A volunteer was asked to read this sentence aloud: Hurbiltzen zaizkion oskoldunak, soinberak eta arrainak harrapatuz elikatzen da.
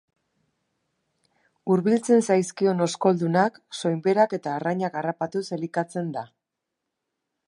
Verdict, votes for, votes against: accepted, 6, 0